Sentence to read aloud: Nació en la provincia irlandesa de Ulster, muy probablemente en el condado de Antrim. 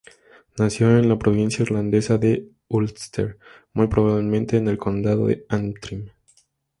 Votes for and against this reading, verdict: 2, 0, accepted